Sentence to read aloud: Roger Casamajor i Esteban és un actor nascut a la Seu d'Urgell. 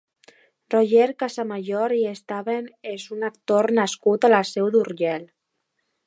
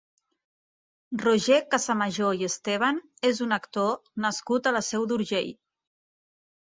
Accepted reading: second